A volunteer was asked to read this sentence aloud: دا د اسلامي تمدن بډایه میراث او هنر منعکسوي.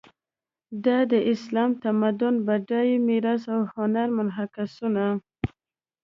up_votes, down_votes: 0, 2